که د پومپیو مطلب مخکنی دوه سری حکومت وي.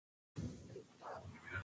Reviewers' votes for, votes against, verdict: 1, 2, rejected